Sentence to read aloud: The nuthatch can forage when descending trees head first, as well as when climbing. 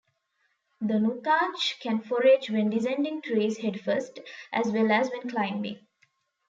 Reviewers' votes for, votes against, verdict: 1, 2, rejected